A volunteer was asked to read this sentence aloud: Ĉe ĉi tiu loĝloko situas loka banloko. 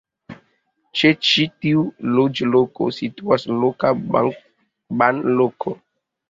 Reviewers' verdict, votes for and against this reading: rejected, 1, 2